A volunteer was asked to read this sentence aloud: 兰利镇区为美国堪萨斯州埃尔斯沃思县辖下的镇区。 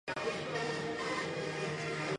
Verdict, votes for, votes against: rejected, 0, 2